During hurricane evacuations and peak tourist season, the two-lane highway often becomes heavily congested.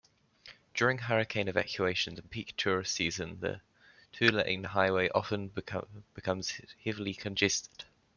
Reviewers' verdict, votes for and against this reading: rejected, 1, 2